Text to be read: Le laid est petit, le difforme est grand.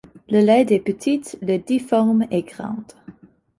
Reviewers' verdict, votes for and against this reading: rejected, 1, 3